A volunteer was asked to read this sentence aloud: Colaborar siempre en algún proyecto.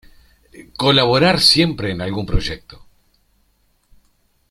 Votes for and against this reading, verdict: 2, 0, accepted